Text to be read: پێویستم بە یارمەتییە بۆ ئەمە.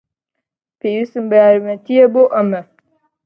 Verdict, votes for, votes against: accepted, 2, 0